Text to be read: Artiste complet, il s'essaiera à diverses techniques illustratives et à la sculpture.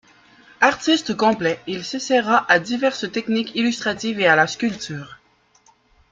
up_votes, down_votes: 2, 0